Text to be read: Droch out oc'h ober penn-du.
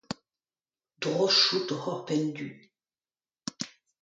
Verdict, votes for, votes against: accepted, 2, 0